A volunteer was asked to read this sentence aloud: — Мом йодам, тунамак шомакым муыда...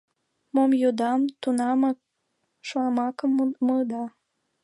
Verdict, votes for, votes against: accepted, 2, 0